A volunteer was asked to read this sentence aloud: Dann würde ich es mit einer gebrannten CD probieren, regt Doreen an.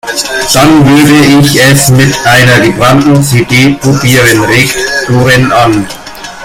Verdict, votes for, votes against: accepted, 2, 0